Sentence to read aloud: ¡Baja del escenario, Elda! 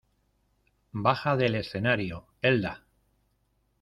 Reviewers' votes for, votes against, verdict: 2, 0, accepted